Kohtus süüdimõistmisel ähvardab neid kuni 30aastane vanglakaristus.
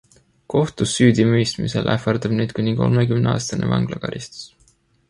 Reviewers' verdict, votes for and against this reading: rejected, 0, 2